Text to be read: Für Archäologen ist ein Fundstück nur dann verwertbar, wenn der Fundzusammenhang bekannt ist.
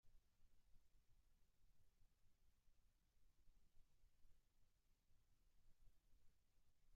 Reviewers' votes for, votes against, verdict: 0, 2, rejected